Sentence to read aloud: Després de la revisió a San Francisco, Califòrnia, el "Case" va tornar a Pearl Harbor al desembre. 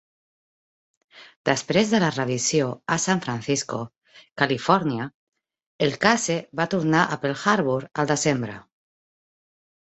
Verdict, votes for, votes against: accepted, 2, 0